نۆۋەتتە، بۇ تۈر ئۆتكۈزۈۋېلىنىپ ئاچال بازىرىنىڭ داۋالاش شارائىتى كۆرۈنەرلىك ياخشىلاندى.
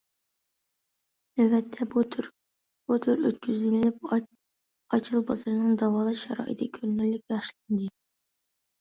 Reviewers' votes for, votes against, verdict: 0, 2, rejected